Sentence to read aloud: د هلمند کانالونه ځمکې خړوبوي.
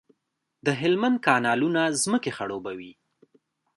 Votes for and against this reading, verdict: 2, 1, accepted